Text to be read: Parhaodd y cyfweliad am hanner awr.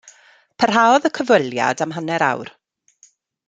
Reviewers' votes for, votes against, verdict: 2, 0, accepted